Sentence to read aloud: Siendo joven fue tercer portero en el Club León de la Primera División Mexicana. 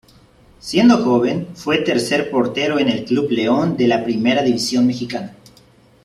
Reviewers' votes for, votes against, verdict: 2, 0, accepted